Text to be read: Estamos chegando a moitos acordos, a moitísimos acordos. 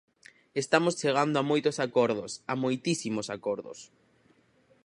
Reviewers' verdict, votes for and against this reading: accepted, 4, 0